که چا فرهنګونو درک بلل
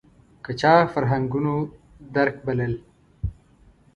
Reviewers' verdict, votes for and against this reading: accepted, 2, 0